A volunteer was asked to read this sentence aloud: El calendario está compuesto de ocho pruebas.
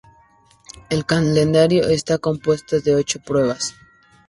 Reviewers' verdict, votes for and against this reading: accepted, 2, 0